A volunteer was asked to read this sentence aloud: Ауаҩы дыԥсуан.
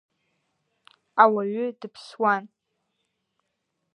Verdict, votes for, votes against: accepted, 2, 0